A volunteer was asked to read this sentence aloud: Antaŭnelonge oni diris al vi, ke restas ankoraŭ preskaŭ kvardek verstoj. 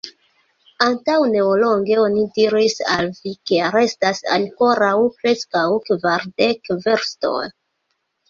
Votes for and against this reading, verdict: 0, 2, rejected